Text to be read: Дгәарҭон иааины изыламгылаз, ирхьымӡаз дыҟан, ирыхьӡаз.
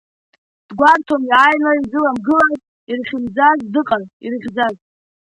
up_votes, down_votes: 2, 0